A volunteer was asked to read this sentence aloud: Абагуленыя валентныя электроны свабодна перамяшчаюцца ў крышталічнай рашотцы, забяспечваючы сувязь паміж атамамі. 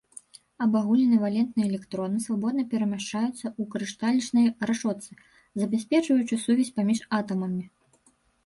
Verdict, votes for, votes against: rejected, 1, 2